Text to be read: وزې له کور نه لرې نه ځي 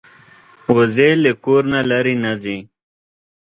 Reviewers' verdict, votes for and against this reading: accepted, 2, 0